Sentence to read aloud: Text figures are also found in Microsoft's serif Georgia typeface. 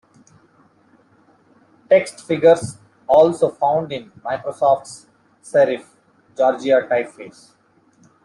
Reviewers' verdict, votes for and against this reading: rejected, 0, 2